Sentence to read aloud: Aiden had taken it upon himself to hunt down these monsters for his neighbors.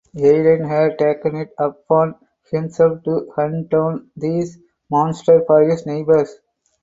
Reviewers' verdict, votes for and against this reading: rejected, 2, 2